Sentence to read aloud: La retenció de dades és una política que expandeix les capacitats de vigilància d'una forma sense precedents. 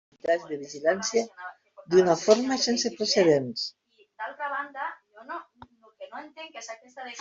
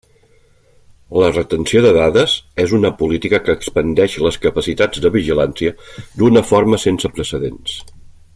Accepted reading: second